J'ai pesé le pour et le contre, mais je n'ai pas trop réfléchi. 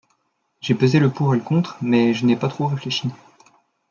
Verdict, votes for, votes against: rejected, 1, 2